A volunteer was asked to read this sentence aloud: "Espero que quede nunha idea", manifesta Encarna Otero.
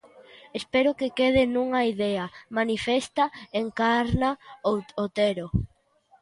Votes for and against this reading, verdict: 0, 2, rejected